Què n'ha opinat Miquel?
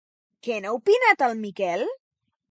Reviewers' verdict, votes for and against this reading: rejected, 2, 2